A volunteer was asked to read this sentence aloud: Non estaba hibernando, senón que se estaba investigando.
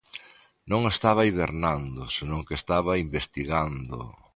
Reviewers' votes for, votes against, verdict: 1, 2, rejected